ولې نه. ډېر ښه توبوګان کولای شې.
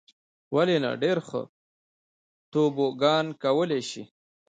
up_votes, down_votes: 2, 0